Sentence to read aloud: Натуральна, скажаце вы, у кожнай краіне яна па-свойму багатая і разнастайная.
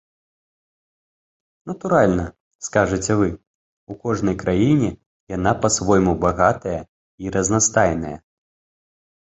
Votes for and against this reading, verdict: 3, 0, accepted